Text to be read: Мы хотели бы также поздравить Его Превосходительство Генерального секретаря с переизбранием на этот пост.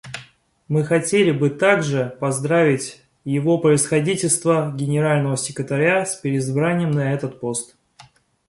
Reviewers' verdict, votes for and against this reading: accepted, 2, 0